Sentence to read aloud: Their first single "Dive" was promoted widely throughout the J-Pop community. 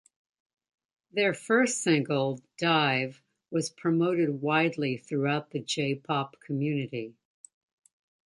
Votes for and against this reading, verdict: 2, 0, accepted